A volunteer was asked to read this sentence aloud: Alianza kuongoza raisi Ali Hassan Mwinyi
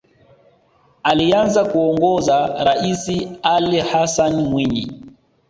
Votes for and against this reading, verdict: 2, 0, accepted